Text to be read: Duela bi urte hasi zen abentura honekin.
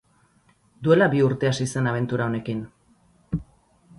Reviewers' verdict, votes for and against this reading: rejected, 2, 2